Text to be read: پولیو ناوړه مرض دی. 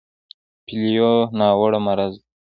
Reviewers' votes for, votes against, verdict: 1, 2, rejected